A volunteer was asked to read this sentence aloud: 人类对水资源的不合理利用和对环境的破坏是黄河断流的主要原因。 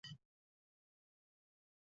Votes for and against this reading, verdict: 0, 3, rejected